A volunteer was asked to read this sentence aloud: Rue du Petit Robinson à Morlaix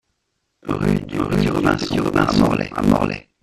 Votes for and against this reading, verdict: 0, 2, rejected